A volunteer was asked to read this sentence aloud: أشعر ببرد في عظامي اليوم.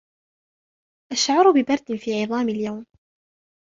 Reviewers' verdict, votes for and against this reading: accepted, 2, 0